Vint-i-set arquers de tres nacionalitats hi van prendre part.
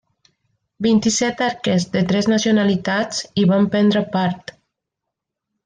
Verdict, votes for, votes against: accepted, 3, 0